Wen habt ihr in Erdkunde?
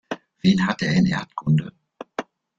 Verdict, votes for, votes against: rejected, 1, 2